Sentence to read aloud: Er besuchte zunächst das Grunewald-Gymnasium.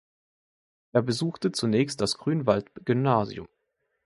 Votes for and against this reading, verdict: 0, 2, rejected